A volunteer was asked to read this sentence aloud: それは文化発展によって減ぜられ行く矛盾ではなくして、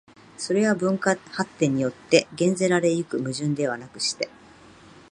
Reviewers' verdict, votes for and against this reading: accepted, 17, 4